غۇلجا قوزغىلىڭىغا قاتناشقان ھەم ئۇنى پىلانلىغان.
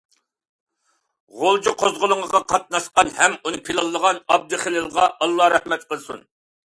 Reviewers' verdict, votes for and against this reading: rejected, 0, 2